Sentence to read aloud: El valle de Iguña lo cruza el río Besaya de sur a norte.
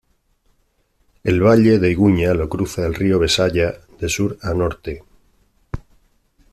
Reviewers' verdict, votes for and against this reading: accepted, 2, 0